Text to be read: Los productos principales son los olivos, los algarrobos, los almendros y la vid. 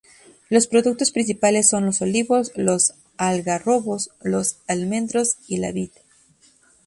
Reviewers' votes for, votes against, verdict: 2, 0, accepted